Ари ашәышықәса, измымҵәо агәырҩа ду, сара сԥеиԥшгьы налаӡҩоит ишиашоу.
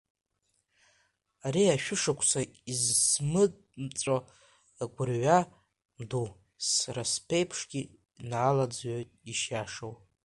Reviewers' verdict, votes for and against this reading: rejected, 1, 2